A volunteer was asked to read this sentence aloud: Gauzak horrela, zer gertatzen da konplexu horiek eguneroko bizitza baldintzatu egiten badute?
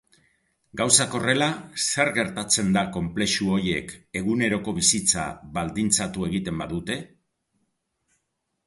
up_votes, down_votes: 2, 0